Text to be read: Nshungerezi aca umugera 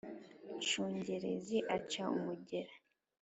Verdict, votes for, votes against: accepted, 3, 0